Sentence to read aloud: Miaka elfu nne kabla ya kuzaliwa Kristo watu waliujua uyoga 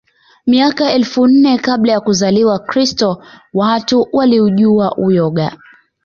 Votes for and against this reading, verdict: 2, 1, accepted